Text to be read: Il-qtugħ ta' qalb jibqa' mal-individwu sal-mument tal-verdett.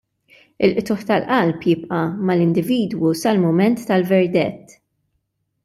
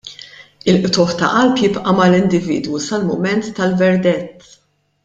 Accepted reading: second